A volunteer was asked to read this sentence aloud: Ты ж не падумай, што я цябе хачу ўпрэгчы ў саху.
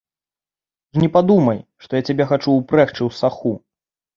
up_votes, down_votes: 0, 2